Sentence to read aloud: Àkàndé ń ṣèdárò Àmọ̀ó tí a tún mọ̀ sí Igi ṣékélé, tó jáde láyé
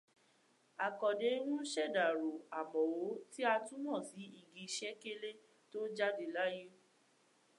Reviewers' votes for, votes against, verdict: 1, 2, rejected